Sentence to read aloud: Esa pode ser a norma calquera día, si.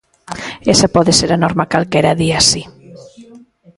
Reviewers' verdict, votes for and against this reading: accepted, 2, 1